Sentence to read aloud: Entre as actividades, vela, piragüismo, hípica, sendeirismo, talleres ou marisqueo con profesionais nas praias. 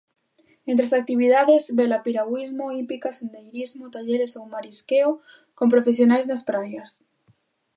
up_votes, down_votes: 2, 0